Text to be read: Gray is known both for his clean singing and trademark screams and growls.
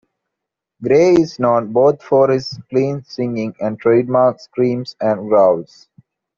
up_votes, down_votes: 2, 0